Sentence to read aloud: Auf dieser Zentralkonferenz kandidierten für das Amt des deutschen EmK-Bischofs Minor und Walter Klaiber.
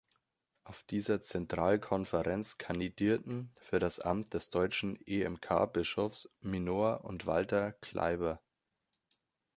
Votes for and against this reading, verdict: 2, 0, accepted